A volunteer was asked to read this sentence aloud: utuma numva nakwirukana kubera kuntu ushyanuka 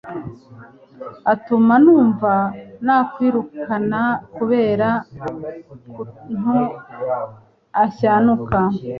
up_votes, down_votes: 0, 3